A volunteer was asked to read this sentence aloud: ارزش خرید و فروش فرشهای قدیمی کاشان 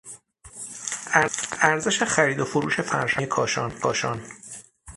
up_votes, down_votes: 0, 6